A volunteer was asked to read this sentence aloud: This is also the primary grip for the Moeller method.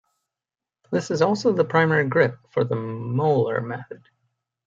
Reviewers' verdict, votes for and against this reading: accepted, 2, 0